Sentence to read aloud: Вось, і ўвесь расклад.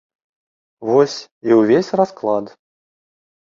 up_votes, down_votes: 2, 0